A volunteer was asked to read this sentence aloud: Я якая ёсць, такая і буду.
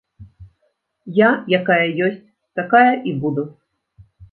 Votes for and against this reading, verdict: 2, 0, accepted